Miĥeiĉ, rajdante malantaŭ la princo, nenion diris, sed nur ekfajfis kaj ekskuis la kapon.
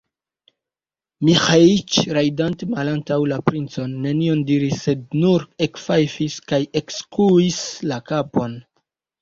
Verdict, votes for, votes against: rejected, 2, 3